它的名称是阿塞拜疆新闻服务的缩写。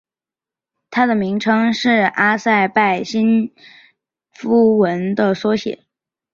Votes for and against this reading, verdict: 0, 2, rejected